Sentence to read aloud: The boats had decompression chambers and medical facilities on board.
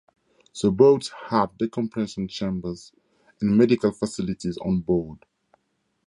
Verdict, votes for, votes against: accepted, 2, 0